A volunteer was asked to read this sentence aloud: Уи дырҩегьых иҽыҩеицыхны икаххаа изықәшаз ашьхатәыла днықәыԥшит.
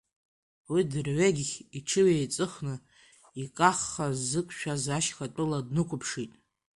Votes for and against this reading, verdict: 2, 0, accepted